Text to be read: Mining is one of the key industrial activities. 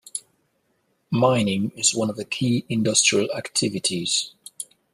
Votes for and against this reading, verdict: 2, 0, accepted